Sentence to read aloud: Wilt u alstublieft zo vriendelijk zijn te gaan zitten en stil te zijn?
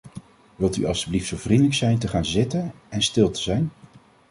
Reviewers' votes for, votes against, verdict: 2, 0, accepted